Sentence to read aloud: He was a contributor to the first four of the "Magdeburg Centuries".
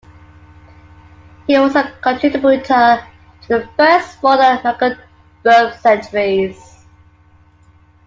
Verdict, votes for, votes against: rejected, 0, 2